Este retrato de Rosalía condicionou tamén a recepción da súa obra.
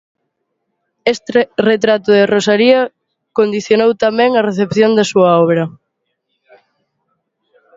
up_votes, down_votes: 0, 2